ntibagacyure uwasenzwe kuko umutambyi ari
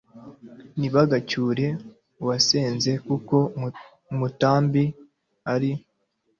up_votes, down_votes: 0, 2